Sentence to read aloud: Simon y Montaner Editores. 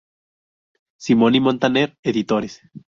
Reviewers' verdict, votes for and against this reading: rejected, 0, 2